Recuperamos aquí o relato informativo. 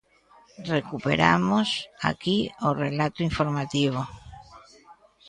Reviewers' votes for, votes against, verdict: 2, 0, accepted